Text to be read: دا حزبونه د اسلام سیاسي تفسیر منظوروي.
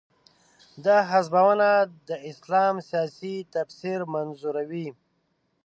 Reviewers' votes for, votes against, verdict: 2, 3, rejected